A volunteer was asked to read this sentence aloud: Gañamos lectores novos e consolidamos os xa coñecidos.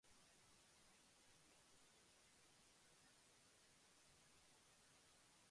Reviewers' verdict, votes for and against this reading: rejected, 0, 2